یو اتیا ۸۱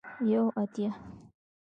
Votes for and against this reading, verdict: 0, 2, rejected